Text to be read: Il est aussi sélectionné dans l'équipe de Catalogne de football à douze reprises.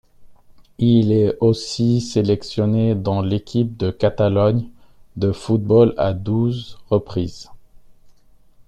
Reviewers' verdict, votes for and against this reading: accepted, 2, 1